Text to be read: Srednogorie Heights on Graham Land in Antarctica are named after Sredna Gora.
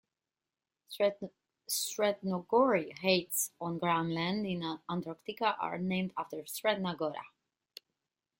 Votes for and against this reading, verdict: 1, 2, rejected